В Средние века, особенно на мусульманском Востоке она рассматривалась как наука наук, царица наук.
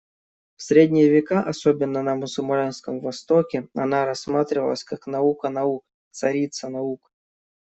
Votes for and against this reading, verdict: 1, 2, rejected